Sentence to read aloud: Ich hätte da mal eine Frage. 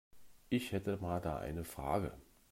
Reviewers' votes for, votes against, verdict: 1, 2, rejected